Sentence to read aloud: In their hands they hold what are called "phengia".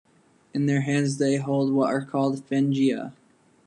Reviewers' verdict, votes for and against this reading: accepted, 2, 0